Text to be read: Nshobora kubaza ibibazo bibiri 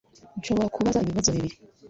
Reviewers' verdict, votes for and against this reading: rejected, 1, 2